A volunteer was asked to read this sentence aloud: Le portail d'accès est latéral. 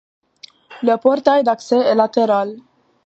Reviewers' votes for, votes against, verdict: 2, 0, accepted